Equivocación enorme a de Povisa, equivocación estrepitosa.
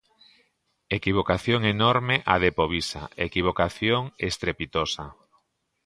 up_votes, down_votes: 2, 0